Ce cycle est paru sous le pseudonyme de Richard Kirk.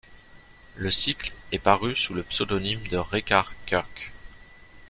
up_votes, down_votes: 0, 2